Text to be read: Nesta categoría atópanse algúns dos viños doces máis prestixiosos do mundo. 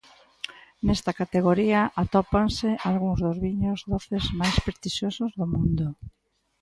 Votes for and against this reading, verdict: 2, 0, accepted